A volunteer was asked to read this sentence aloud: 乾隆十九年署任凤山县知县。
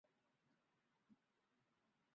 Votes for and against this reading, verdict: 0, 2, rejected